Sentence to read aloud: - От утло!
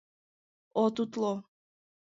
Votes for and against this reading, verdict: 2, 0, accepted